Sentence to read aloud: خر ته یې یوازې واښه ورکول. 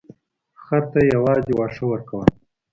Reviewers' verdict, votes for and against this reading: accepted, 2, 0